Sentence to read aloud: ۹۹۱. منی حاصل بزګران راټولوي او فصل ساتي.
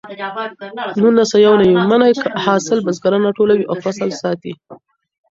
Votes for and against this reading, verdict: 0, 2, rejected